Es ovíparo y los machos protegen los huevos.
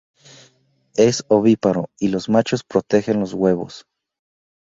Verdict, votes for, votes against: rejected, 2, 2